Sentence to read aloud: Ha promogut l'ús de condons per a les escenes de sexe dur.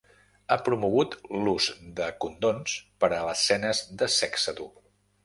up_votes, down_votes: 0, 3